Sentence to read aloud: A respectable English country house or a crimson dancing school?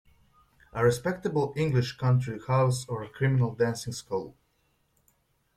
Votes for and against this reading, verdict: 0, 2, rejected